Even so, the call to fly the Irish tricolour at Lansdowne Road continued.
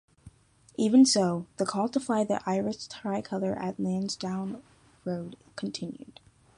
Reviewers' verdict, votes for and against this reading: rejected, 0, 2